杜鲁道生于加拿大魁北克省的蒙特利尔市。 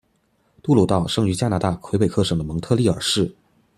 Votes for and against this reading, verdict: 2, 0, accepted